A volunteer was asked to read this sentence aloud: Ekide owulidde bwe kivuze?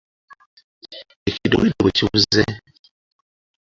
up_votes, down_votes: 0, 2